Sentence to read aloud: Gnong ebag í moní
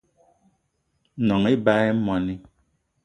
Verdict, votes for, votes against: accepted, 2, 0